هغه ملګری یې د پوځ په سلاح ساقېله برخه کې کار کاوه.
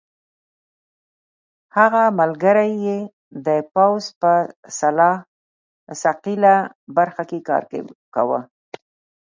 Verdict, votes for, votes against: rejected, 2, 3